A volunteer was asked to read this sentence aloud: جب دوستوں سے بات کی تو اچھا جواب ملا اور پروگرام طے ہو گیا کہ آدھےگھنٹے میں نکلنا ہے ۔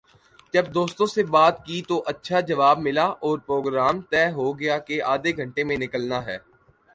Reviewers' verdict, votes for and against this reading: accepted, 2, 0